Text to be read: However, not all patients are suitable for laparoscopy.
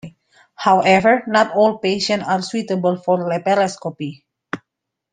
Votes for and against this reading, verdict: 0, 2, rejected